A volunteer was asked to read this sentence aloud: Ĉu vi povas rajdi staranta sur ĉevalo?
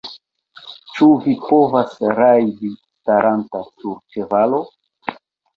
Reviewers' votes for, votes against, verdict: 0, 2, rejected